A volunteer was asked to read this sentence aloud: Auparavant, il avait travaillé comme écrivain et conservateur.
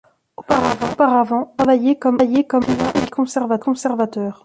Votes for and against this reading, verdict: 0, 2, rejected